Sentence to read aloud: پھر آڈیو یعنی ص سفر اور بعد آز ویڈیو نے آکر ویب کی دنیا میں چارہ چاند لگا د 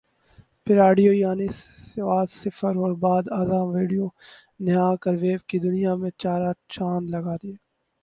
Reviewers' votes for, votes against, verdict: 0, 6, rejected